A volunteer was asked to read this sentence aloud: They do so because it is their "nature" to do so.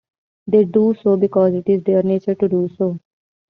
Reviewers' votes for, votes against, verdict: 2, 1, accepted